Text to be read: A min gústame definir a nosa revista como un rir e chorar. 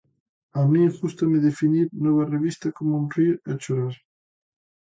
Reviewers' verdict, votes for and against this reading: rejected, 0, 2